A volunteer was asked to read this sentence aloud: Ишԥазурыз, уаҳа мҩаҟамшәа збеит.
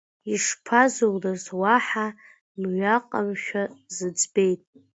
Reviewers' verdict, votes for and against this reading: rejected, 0, 2